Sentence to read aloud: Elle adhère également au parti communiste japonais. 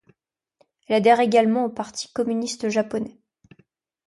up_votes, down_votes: 0, 2